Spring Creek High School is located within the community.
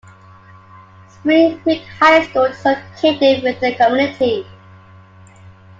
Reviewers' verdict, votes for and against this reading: rejected, 0, 2